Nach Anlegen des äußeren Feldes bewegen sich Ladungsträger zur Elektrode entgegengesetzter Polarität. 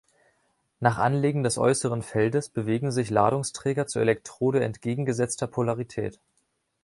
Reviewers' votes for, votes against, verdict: 2, 0, accepted